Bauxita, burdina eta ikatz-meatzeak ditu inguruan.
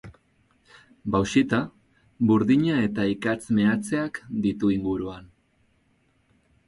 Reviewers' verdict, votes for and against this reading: accepted, 4, 0